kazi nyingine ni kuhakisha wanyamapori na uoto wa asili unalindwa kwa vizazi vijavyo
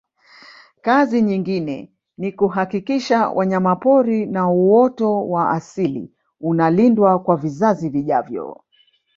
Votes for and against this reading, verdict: 2, 0, accepted